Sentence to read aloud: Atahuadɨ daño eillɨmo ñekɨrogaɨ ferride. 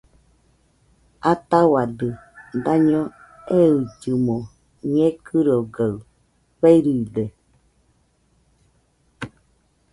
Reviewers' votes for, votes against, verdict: 2, 0, accepted